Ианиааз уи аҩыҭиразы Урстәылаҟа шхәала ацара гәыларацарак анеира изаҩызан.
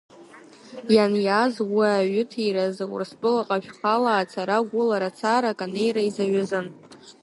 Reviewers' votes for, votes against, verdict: 0, 2, rejected